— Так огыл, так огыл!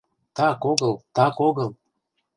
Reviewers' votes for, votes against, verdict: 2, 0, accepted